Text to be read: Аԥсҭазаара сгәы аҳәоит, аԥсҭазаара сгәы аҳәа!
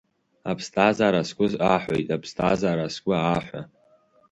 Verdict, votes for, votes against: accepted, 2, 0